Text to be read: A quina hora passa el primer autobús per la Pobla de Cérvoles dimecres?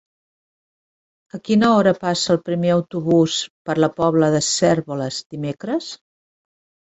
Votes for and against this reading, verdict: 3, 0, accepted